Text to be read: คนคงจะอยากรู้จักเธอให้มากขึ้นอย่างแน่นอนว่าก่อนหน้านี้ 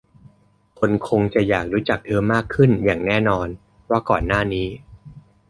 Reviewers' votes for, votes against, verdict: 1, 2, rejected